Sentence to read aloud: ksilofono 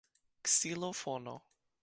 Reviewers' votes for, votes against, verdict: 1, 2, rejected